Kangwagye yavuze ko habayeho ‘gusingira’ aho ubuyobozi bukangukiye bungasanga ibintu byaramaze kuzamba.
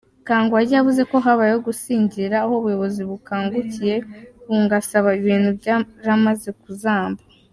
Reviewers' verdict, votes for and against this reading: rejected, 0, 2